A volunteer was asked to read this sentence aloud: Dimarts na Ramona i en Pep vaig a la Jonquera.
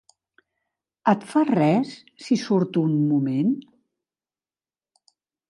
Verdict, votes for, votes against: rejected, 0, 2